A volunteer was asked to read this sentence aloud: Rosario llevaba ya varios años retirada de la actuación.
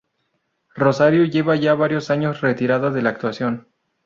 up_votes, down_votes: 0, 2